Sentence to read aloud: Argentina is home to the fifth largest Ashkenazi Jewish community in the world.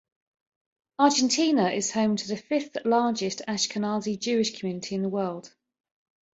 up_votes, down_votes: 2, 0